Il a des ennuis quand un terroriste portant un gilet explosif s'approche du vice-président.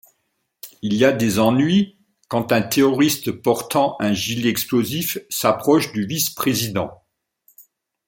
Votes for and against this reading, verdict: 2, 0, accepted